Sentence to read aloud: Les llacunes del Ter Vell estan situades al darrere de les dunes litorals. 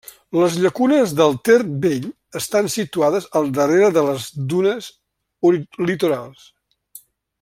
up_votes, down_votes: 0, 2